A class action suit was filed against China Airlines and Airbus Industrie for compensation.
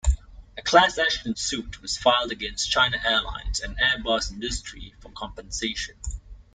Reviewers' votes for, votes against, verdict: 2, 0, accepted